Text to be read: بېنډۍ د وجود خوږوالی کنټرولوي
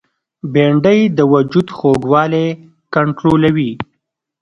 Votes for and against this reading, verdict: 2, 0, accepted